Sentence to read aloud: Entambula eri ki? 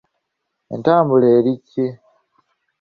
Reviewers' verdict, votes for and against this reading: accepted, 2, 0